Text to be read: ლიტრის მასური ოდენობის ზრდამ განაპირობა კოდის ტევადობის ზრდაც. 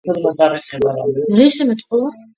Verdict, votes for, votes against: rejected, 0, 2